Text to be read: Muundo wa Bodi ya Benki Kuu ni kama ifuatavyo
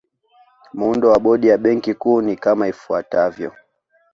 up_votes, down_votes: 2, 0